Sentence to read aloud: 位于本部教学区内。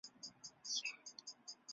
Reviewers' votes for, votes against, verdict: 0, 2, rejected